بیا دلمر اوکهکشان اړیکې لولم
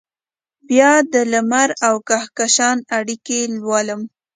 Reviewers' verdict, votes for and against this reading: accepted, 2, 0